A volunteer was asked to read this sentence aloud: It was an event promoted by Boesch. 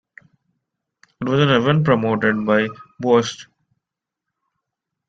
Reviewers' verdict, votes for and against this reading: rejected, 0, 2